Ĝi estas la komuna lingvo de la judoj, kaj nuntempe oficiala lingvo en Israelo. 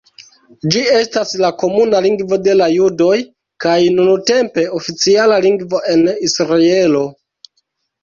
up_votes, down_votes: 1, 2